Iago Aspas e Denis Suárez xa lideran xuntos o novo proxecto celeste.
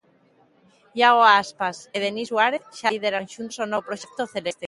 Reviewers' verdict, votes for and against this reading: accepted, 2, 1